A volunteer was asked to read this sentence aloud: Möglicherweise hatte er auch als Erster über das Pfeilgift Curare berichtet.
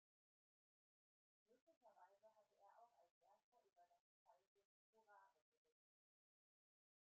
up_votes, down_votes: 0, 2